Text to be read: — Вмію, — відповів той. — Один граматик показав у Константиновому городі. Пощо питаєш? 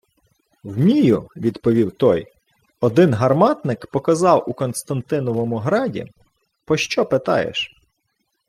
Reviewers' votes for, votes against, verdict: 0, 2, rejected